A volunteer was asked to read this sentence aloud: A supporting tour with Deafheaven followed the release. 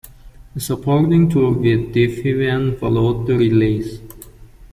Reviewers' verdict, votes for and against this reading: accepted, 2, 1